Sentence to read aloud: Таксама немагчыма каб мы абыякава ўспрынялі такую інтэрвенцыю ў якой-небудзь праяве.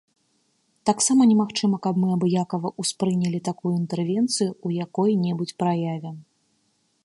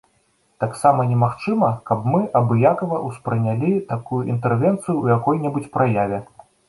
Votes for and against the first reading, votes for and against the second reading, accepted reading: 1, 2, 2, 0, second